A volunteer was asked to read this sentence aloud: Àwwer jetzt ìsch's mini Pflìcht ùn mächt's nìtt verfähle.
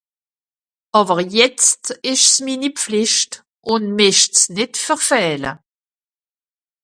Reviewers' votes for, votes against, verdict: 1, 2, rejected